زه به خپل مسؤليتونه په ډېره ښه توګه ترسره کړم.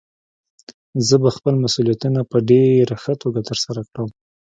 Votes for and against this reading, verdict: 2, 0, accepted